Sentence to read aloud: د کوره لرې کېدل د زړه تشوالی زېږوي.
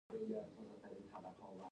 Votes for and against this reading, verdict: 1, 2, rejected